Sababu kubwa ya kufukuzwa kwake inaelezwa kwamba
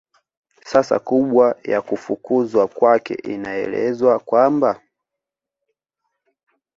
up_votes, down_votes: 2, 1